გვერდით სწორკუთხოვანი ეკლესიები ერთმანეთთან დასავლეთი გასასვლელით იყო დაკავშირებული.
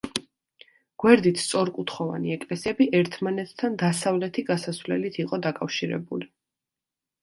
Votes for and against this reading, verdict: 2, 0, accepted